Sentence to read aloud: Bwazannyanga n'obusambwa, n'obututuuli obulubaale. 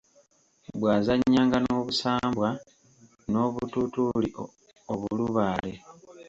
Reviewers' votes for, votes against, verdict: 0, 2, rejected